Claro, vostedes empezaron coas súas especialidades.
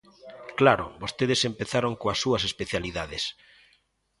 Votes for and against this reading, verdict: 2, 0, accepted